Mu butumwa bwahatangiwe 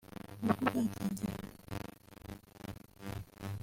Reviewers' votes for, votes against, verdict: 0, 2, rejected